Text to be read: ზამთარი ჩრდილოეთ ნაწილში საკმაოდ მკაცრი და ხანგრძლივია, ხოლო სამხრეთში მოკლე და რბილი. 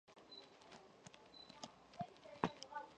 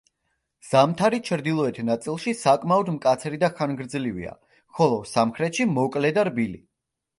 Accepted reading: second